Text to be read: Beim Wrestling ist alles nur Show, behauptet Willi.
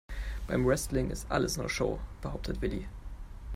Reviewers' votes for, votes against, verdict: 2, 0, accepted